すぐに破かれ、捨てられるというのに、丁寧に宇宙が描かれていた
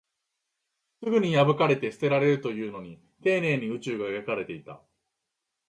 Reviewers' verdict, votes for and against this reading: rejected, 1, 2